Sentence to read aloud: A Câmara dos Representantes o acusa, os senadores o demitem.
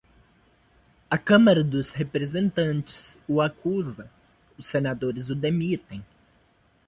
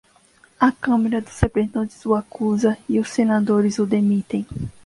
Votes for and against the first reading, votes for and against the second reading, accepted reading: 2, 0, 0, 2, first